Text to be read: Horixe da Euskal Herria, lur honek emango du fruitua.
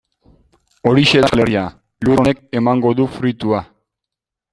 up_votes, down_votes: 0, 2